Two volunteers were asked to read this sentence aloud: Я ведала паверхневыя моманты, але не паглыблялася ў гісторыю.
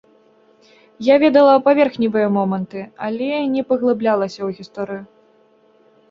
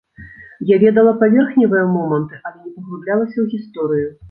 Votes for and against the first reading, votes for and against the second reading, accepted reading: 2, 0, 0, 3, first